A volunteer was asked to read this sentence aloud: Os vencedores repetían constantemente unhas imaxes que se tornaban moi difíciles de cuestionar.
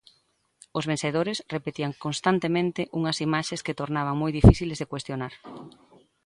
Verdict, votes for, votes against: rejected, 0, 2